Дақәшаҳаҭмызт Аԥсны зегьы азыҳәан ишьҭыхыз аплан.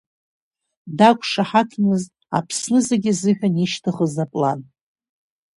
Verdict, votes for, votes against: accepted, 2, 0